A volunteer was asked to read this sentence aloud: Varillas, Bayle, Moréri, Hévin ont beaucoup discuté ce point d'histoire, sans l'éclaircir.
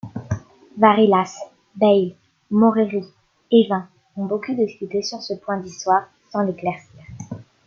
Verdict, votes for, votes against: rejected, 1, 2